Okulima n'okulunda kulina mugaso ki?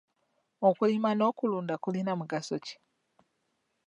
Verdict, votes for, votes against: accepted, 2, 0